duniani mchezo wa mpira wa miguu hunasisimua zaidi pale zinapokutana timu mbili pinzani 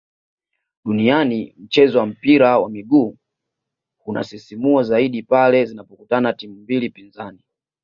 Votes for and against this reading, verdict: 2, 0, accepted